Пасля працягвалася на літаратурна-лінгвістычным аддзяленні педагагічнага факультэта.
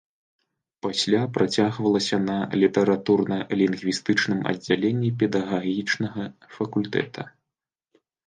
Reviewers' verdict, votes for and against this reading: accepted, 2, 0